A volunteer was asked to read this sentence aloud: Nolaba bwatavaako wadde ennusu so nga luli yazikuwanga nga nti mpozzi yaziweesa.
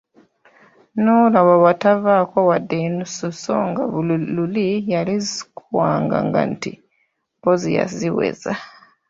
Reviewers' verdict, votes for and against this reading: rejected, 0, 2